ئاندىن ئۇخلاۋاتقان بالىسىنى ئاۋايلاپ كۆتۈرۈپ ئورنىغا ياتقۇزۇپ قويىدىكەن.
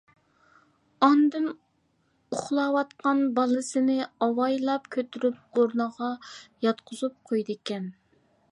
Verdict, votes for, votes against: accepted, 2, 0